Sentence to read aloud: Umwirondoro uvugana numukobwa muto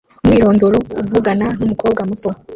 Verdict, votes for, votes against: accepted, 2, 0